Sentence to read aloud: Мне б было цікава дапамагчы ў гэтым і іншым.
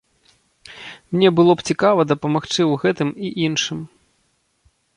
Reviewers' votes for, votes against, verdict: 1, 2, rejected